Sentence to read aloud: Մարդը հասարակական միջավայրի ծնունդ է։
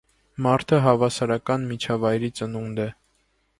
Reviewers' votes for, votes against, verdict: 0, 2, rejected